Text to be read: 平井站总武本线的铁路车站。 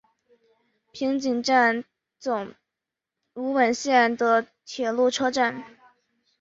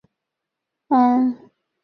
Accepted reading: first